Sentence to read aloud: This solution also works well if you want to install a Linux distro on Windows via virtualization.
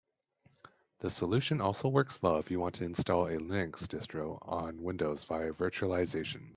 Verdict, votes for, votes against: accepted, 3, 0